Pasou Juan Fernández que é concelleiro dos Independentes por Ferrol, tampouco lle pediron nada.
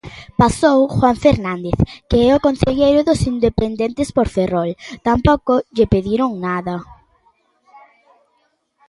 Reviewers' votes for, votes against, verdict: 2, 1, accepted